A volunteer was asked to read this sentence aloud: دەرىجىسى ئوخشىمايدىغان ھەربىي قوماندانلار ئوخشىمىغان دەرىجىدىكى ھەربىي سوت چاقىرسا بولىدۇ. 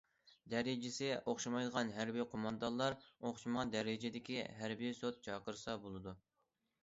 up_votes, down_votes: 2, 0